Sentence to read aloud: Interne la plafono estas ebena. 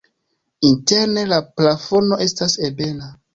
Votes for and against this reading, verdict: 3, 1, accepted